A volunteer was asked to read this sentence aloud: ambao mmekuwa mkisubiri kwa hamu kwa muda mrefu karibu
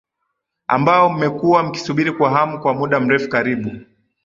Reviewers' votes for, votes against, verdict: 2, 0, accepted